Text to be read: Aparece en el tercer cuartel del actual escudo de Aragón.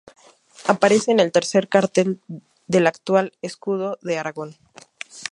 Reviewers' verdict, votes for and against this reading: rejected, 0, 2